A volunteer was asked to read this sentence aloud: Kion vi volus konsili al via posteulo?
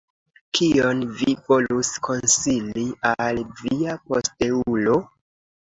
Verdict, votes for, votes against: accepted, 2, 0